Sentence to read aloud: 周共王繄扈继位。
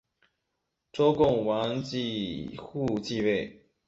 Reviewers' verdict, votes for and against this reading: rejected, 1, 2